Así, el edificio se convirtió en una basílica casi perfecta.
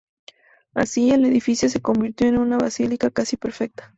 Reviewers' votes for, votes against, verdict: 2, 0, accepted